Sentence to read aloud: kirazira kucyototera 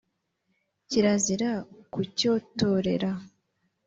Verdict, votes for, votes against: accepted, 2, 0